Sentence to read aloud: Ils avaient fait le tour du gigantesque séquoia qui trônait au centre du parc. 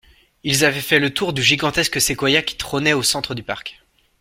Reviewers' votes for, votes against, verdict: 2, 0, accepted